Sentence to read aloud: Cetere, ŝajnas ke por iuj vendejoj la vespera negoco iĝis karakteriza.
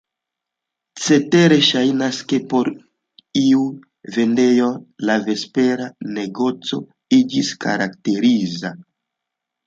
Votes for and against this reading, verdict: 0, 2, rejected